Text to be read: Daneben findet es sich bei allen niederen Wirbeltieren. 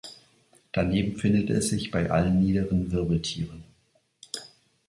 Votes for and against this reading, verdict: 2, 0, accepted